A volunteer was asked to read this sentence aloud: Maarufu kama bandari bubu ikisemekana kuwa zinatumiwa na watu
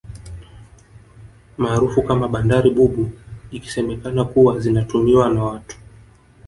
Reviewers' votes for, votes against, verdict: 2, 0, accepted